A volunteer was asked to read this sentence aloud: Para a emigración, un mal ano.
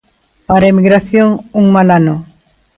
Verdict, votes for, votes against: accepted, 2, 0